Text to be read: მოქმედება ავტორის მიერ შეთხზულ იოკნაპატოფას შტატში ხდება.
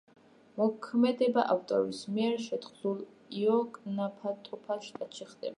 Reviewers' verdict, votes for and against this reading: rejected, 0, 2